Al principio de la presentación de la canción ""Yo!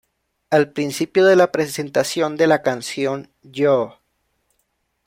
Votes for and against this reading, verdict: 2, 0, accepted